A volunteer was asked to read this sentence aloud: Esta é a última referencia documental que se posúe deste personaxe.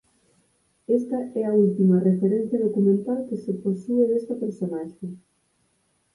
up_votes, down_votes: 0, 4